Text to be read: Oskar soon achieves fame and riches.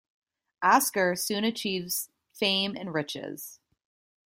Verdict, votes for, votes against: accepted, 2, 0